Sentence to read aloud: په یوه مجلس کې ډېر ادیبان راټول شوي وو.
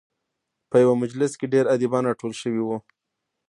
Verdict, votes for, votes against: rejected, 0, 2